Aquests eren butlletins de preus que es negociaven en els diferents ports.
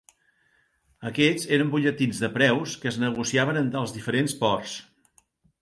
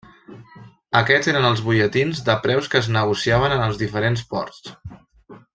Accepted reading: first